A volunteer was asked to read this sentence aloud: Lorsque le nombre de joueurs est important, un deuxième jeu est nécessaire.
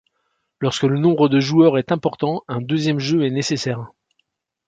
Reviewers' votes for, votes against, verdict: 2, 0, accepted